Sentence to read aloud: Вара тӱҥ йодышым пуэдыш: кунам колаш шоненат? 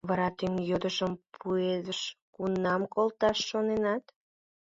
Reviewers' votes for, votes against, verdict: 0, 2, rejected